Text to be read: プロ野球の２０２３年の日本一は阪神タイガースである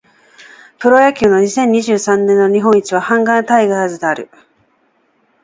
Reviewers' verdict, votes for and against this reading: rejected, 0, 2